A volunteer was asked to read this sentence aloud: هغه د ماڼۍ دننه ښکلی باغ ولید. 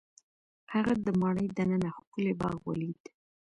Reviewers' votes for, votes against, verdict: 1, 2, rejected